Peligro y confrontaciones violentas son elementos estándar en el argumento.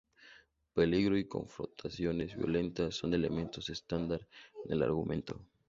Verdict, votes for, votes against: rejected, 0, 2